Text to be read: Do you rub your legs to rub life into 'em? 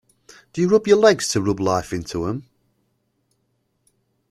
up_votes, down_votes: 2, 0